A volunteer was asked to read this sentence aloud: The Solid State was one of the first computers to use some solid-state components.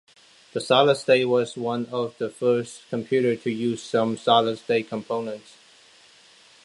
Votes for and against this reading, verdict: 0, 2, rejected